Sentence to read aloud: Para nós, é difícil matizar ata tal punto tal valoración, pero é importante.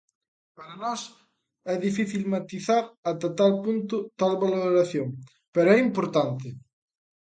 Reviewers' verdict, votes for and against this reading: accepted, 2, 0